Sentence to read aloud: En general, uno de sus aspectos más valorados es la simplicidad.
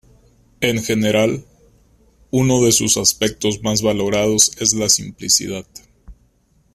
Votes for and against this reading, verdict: 2, 0, accepted